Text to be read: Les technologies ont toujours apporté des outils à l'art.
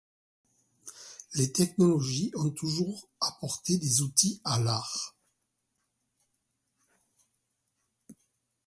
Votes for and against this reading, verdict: 1, 2, rejected